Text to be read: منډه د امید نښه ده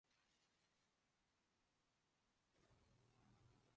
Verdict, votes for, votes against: rejected, 0, 2